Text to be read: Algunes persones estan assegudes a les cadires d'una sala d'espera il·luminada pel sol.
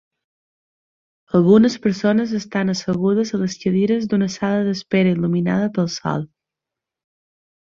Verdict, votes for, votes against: accepted, 3, 0